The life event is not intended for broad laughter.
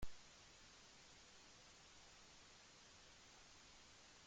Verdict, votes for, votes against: rejected, 0, 2